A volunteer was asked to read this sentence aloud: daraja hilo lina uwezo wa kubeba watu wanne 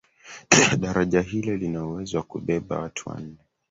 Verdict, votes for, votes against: rejected, 1, 2